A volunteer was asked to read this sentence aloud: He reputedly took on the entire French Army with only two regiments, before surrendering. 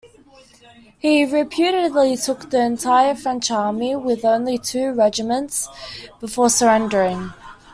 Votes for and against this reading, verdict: 0, 2, rejected